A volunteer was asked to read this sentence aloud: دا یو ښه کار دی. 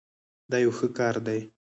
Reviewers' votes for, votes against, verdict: 4, 0, accepted